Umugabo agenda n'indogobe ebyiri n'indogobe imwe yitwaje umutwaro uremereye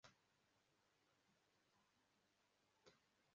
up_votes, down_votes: 0, 2